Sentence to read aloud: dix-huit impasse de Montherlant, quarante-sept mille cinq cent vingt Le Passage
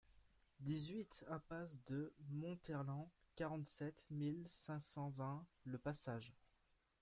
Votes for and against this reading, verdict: 1, 2, rejected